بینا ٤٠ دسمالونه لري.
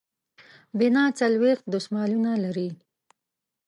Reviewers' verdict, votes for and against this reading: rejected, 0, 2